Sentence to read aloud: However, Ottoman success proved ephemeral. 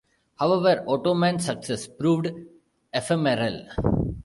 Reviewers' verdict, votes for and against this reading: rejected, 1, 2